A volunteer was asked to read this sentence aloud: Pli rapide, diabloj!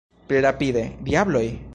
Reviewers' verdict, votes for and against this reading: accepted, 2, 1